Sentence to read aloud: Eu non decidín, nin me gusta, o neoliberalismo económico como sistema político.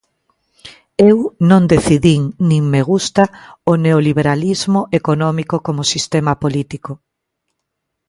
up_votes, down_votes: 2, 0